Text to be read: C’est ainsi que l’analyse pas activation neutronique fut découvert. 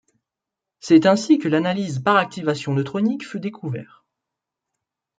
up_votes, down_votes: 0, 2